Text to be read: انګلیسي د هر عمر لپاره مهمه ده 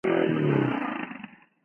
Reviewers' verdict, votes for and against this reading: rejected, 0, 2